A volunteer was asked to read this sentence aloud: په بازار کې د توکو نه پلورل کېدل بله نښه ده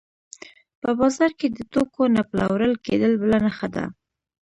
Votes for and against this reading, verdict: 2, 0, accepted